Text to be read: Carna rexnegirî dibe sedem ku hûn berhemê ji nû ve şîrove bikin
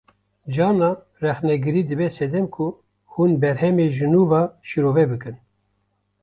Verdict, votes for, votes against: accepted, 2, 0